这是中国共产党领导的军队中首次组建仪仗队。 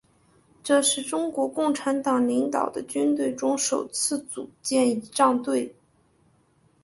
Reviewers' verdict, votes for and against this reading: accepted, 2, 1